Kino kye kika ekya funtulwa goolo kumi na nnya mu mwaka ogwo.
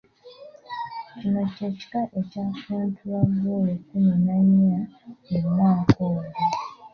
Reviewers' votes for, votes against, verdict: 0, 2, rejected